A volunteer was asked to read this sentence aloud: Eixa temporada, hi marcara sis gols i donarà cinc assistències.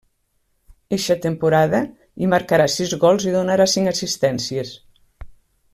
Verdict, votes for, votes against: rejected, 0, 2